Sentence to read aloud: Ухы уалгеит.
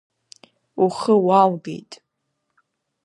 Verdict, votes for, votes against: accepted, 2, 0